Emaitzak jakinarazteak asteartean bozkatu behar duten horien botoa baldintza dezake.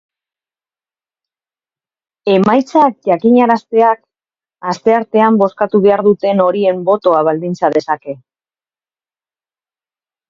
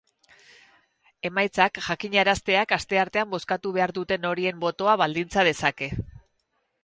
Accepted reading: second